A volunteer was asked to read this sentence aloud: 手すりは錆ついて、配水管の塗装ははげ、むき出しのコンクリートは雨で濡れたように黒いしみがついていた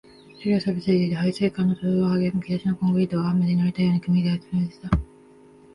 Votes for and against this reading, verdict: 0, 2, rejected